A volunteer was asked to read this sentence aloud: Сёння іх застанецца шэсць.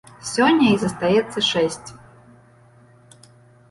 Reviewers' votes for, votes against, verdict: 0, 2, rejected